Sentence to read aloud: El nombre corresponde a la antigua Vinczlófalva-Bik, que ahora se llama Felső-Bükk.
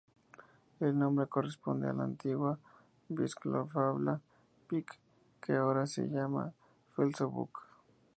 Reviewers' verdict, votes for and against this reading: rejected, 0, 2